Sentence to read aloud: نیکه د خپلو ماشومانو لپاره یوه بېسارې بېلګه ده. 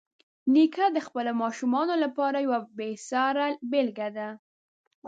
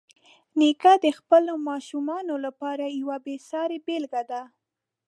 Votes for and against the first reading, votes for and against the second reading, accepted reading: 0, 2, 4, 0, second